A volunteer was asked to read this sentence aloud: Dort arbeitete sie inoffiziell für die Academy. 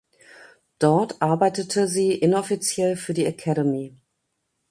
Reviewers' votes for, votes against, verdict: 2, 0, accepted